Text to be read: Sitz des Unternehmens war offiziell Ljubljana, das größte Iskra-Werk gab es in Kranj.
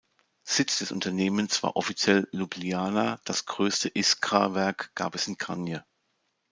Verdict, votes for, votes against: accepted, 2, 0